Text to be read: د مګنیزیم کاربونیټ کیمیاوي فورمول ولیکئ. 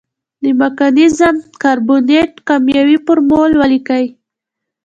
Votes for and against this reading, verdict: 2, 0, accepted